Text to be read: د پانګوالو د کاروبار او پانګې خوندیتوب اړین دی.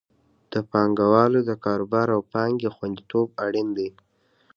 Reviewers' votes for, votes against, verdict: 1, 2, rejected